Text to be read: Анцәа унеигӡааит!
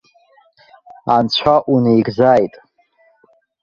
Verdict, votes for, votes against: accepted, 2, 1